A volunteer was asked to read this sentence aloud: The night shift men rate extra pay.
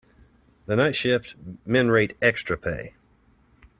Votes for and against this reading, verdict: 2, 0, accepted